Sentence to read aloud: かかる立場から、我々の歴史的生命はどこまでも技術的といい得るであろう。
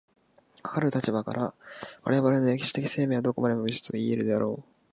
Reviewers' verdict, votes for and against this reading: rejected, 1, 2